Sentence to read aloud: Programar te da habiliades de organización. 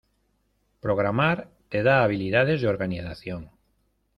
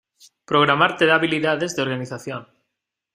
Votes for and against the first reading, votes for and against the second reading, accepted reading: 0, 2, 2, 0, second